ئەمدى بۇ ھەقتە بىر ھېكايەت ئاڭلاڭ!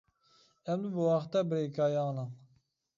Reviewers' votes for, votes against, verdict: 1, 2, rejected